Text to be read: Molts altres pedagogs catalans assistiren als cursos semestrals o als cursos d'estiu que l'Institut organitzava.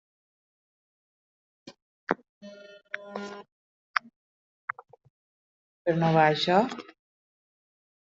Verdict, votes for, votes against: rejected, 0, 2